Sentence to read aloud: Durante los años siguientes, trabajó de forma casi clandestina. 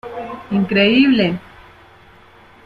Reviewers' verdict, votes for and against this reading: rejected, 0, 3